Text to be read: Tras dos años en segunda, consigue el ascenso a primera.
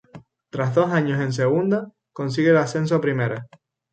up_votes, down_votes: 0, 2